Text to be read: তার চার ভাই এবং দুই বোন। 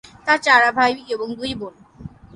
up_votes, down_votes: 0, 3